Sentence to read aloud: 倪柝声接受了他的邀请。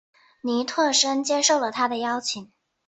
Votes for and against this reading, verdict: 2, 0, accepted